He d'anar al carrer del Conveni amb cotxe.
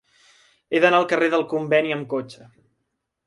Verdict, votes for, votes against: accepted, 3, 0